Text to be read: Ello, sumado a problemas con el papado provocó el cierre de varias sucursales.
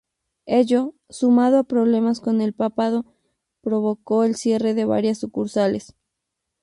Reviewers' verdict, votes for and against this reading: accepted, 2, 0